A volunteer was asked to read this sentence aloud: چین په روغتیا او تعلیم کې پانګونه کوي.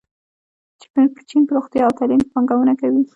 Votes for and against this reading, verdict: 1, 2, rejected